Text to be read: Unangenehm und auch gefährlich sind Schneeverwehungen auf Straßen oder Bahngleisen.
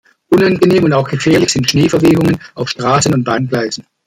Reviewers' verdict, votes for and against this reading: rejected, 0, 2